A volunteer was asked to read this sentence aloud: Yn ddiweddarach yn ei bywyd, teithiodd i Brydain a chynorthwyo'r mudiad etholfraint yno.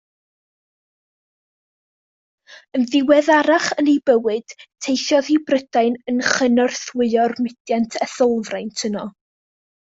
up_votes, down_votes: 0, 2